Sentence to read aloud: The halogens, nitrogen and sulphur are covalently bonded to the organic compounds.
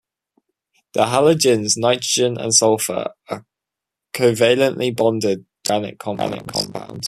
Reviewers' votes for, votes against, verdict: 0, 2, rejected